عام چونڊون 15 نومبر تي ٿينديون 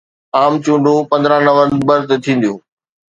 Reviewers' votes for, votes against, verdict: 0, 2, rejected